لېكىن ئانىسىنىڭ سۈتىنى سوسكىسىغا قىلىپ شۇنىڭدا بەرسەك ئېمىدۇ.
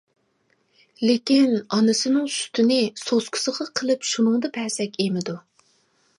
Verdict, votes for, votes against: rejected, 1, 2